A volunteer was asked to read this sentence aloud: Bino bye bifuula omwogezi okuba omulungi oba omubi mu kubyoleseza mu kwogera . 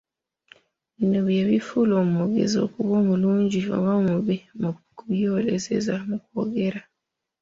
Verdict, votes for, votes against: rejected, 2, 3